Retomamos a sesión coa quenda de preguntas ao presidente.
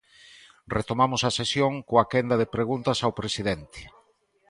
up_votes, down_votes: 2, 0